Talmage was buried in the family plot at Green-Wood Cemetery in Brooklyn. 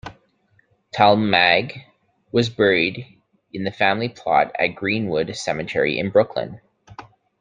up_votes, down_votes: 2, 0